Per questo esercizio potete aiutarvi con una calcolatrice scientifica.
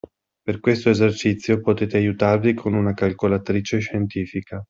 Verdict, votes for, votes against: accepted, 2, 0